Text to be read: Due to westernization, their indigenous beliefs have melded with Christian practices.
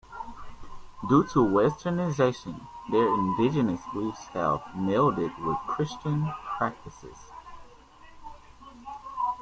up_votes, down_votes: 1, 2